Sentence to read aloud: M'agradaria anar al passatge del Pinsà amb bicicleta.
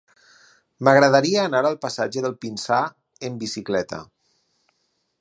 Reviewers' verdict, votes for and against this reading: rejected, 0, 6